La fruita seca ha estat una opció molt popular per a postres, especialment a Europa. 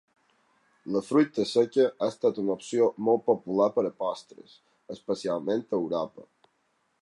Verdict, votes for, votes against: accepted, 12, 0